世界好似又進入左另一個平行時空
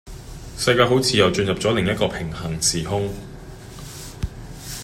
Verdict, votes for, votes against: accepted, 2, 0